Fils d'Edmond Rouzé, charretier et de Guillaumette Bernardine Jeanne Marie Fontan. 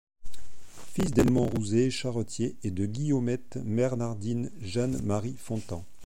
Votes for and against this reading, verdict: 2, 0, accepted